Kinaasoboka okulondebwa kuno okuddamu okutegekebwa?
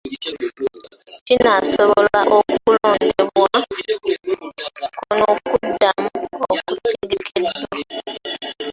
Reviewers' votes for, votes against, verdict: 0, 2, rejected